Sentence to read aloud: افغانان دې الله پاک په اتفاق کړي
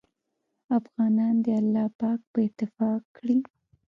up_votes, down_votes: 2, 3